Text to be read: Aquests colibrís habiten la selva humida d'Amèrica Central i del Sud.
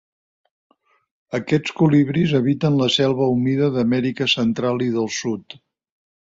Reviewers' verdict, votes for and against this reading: accepted, 2, 0